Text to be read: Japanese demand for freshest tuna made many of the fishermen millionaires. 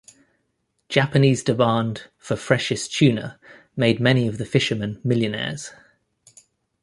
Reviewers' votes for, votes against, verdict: 2, 0, accepted